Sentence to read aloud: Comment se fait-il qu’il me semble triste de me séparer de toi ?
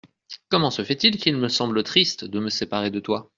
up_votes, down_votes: 2, 0